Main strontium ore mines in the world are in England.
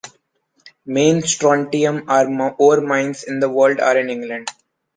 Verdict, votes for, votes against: rejected, 0, 2